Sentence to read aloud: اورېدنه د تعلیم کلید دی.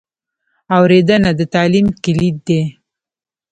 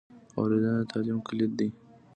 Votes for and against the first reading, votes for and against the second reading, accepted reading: 1, 2, 2, 0, second